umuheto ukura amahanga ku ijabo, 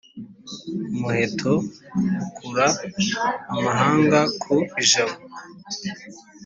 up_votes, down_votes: 2, 0